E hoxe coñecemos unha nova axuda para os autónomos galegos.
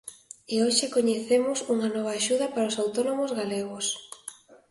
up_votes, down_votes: 2, 0